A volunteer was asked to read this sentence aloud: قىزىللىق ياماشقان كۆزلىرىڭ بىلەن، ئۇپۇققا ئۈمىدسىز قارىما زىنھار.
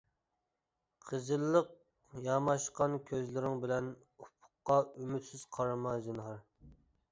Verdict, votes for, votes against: accepted, 2, 0